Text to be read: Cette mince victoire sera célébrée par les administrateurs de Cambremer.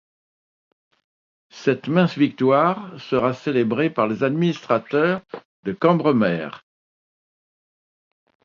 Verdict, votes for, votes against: accepted, 2, 0